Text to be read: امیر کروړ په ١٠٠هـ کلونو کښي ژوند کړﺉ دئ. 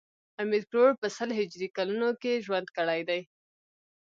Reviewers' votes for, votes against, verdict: 0, 2, rejected